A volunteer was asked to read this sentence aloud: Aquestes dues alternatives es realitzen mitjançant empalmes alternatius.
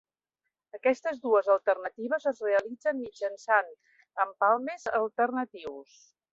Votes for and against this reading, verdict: 2, 0, accepted